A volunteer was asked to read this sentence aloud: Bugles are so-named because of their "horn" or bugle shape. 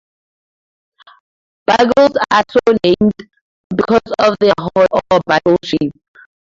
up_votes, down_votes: 0, 2